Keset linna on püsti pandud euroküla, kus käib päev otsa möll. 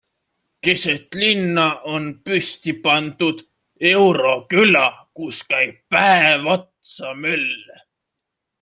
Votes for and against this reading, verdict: 2, 0, accepted